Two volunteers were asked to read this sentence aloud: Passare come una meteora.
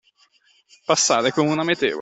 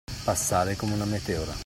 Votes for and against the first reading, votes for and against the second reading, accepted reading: 1, 2, 2, 0, second